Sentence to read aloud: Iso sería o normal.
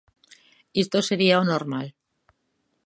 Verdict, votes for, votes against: rejected, 0, 2